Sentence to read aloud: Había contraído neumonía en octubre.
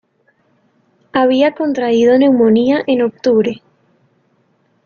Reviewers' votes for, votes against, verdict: 2, 0, accepted